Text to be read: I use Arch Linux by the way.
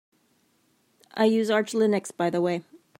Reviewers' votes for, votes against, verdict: 2, 0, accepted